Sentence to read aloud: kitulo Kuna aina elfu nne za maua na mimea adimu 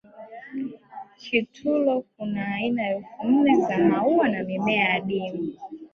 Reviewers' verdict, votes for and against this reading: rejected, 0, 2